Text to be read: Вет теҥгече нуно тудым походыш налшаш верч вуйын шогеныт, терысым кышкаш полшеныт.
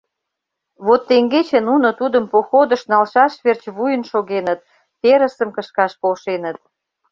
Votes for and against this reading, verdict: 1, 2, rejected